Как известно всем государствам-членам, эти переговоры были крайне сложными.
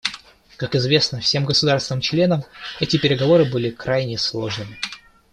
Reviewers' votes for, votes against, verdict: 2, 0, accepted